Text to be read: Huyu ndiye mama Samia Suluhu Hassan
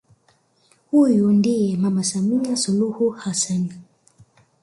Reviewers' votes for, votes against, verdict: 0, 2, rejected